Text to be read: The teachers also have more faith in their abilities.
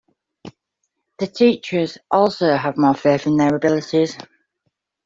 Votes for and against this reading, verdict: 2, 0, accepted